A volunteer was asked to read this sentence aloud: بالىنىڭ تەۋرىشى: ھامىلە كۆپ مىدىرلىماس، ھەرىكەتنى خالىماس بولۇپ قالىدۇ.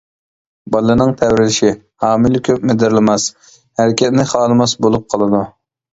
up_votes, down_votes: 2, 0